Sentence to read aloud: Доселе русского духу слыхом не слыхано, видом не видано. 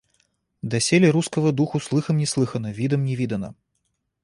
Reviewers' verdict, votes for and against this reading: accepted, 2, 0